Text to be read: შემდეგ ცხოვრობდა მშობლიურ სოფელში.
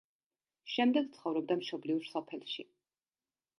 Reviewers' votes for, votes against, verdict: 2, 0, accepted